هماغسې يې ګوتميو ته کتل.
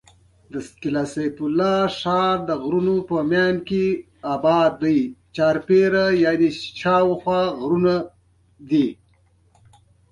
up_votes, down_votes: 0, 2